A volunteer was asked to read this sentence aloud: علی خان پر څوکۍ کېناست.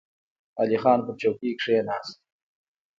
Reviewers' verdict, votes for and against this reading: accepted, 2, 0